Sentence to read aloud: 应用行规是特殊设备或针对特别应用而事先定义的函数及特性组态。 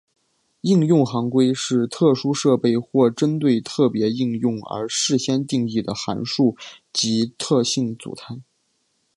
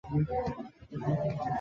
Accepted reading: first